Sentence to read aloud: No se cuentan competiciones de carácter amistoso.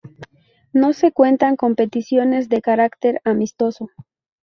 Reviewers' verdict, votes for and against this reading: accepted, 4, 0